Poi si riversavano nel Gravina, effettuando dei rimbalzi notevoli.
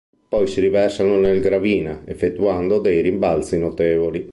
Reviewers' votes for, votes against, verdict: 2, 1, accepted